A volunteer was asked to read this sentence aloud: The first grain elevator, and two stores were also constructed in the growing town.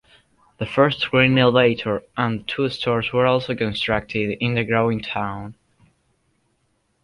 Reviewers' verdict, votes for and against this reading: rejected, 0, 2